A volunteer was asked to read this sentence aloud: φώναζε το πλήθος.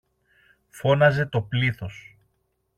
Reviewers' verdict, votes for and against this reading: accepted, 2, 0